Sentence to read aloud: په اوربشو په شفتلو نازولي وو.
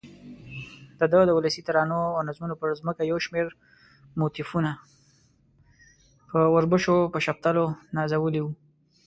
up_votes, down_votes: 1, 2